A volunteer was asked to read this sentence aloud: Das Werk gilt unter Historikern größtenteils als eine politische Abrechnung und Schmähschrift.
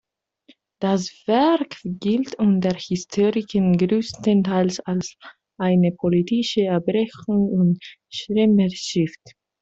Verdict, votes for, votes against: rejected, 0, 2